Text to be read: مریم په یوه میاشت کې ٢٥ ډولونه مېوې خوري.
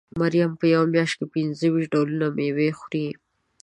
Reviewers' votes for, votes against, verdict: 0, 2, rejected